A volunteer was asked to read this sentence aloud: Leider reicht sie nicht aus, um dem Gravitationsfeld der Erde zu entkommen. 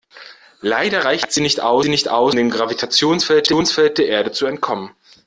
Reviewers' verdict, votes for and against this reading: rejected, 0, 2